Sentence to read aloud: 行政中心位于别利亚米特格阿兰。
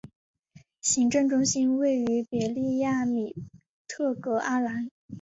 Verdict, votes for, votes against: accepted, 3, 0